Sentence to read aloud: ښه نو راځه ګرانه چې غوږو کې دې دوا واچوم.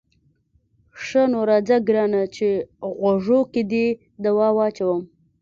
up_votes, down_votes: 2, 0